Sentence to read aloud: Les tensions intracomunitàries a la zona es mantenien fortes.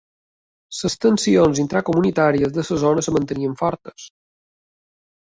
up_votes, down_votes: 0, 2